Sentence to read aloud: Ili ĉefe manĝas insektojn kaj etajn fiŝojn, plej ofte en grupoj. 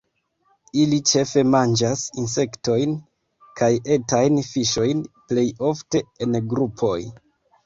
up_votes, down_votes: 0, 2